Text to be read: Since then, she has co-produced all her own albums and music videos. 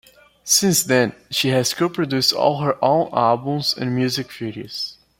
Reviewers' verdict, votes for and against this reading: accepted, 2, 0